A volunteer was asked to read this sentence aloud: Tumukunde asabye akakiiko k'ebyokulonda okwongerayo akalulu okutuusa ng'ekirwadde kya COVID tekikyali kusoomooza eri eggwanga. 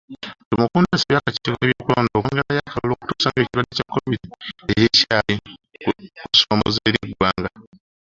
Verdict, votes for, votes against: rejected, 0, 3